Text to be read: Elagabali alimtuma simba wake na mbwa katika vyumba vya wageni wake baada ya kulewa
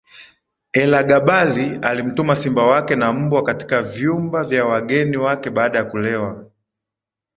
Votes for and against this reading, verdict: 5, 0, accepted